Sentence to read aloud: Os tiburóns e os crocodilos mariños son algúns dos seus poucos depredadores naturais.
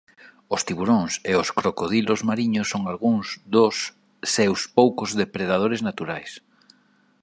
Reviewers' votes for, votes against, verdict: 2, 0, accepted